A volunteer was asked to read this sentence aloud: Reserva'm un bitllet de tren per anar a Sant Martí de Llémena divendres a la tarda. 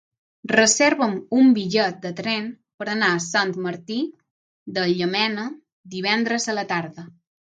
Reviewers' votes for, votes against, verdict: 0, 3, rejected